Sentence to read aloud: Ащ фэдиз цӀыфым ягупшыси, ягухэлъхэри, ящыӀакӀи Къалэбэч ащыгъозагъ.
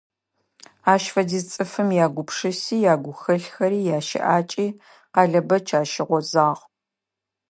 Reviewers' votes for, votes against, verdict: 2, 0, accepted